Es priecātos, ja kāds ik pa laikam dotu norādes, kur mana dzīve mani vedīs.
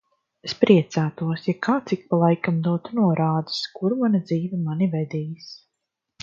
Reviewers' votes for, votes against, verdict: 2, 0, accepted